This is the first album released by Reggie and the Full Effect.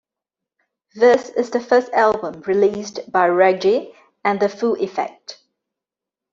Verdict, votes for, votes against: accepted, 3, 0